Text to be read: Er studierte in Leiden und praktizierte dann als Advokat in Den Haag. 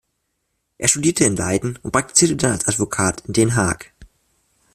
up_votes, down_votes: 0, 2